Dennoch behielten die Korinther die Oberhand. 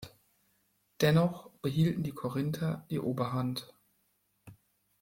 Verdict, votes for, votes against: accepted, 2, 0